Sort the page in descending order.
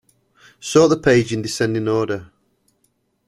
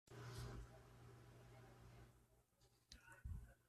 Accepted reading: first